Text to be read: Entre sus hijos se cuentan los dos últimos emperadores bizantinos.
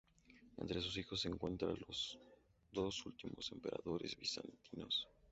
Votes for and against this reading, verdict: 0, 2, rejected